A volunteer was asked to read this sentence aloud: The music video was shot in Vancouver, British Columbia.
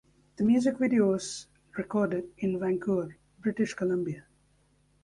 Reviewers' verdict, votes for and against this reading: rejected, 0, 2